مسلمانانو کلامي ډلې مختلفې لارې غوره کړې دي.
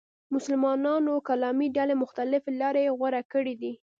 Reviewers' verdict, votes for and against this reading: rejected, 1, 2